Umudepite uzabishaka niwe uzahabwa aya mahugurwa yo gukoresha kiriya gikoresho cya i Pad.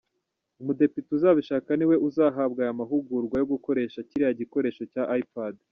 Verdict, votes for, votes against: accepted, 2, 0